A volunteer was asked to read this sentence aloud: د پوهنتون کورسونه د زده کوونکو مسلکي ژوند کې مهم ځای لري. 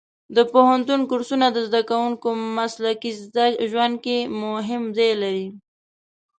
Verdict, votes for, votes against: rejected, 0, 2